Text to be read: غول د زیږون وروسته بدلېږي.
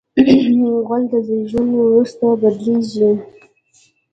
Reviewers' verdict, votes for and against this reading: rejected, 1, 2